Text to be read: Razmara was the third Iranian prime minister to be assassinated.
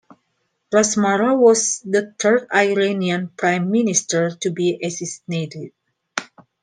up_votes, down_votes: 2, 0